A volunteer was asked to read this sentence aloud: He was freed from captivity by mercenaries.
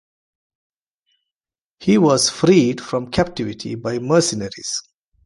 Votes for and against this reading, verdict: 2, 1, accepted